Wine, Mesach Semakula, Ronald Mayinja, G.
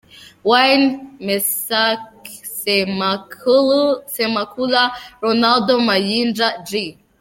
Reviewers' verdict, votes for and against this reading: rejected, 0, 2